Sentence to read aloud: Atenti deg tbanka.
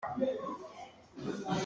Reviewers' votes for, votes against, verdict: 0, 2, rejected